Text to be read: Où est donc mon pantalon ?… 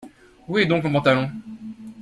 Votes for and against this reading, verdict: 2, 0, accepted